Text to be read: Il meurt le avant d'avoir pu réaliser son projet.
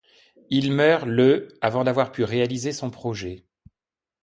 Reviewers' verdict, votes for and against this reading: accepted, 2, 0